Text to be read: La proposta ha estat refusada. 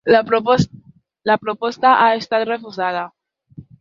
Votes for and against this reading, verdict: 0, 2, rejected